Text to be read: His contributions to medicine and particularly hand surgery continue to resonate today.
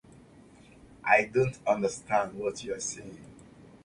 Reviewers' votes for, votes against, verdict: 0, 2, rejected